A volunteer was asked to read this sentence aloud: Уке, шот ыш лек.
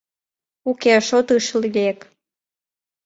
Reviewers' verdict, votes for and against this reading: rejected, 1, 2